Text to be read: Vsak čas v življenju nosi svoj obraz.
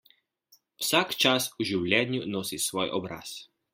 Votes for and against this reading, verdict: 2, 0, accepted